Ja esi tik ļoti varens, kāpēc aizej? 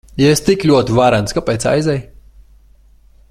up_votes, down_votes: 2, 0